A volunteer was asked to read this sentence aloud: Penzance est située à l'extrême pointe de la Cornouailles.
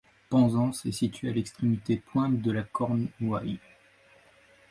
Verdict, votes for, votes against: rejected, 1, 2